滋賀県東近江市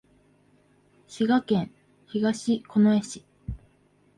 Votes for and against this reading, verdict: 2, 0, accepted